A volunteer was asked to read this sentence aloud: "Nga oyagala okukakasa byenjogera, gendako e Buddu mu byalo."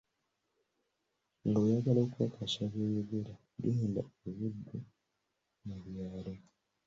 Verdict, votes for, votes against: accepted, 2, 1